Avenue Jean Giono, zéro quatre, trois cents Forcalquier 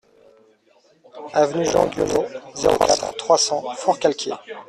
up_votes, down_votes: 0, 2